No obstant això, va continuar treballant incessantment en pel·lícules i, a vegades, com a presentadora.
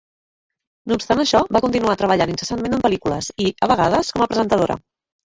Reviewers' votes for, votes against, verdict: 0, 3, rejected